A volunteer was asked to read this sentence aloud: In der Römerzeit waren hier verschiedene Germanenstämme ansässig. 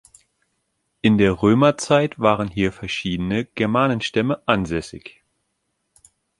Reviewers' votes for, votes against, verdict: 3, 0, accepted